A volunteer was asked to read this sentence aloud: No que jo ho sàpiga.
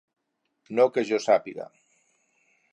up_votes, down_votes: 0, 4